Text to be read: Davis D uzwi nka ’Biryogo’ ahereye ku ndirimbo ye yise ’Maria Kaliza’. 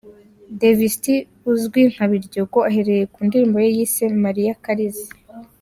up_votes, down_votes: 2, 0